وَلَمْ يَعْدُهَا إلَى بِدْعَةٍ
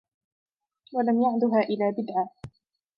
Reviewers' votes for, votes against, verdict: 4, 0, accepted